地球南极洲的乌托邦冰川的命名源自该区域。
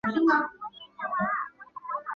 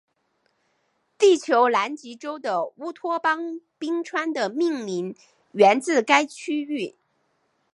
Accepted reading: second